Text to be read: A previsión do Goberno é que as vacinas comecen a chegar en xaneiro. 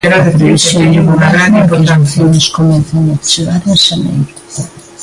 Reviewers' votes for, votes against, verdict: 0, 2, rejected